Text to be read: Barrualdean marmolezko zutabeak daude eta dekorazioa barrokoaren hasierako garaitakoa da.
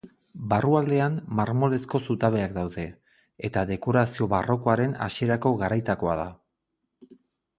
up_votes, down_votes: 2, 2